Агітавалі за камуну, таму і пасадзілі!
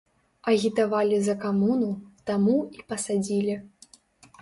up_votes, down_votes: 2, 0